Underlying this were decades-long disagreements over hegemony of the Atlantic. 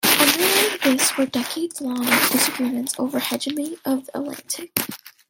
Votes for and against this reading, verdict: 1, 2, rejected